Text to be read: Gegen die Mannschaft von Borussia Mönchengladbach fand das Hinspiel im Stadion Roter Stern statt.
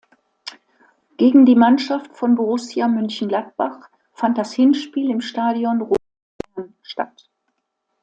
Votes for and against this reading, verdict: 0, 2, rejected